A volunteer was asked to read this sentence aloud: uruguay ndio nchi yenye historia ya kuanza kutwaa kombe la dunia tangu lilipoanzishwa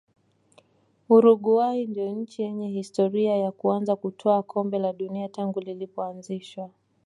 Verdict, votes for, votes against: accepted, 2, 0